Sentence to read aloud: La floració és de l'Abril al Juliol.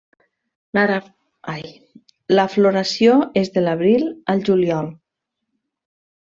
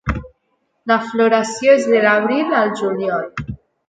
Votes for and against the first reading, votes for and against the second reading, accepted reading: 1, 2, 2, 1, second